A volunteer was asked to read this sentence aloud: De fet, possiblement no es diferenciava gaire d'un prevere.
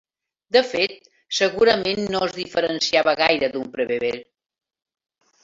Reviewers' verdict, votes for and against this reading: rejected, 0, 3